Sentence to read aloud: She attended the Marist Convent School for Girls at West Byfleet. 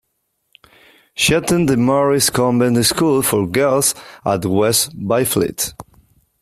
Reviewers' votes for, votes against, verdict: 2, 0, accepted